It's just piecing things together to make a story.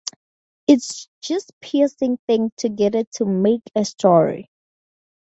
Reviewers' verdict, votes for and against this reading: accepted, 2, 0